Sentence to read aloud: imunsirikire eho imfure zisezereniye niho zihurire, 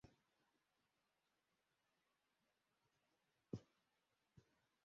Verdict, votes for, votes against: rejected, 0, 2